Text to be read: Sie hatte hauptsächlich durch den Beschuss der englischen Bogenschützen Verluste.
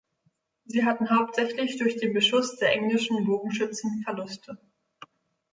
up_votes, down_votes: 0, 2